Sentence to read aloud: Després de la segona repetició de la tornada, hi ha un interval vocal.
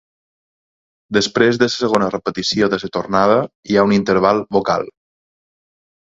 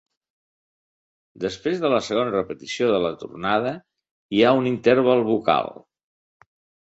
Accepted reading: second